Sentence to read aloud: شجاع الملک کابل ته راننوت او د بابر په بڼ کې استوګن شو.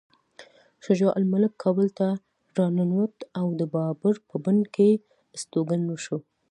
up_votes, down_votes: 2, 0